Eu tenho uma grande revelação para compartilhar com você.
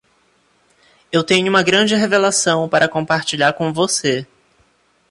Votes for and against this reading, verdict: 2, 0, accepted